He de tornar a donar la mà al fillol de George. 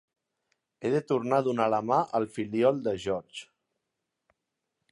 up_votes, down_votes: 0, 2